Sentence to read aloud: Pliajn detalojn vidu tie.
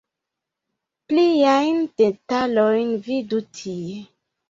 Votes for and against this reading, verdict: 0, 2, rejected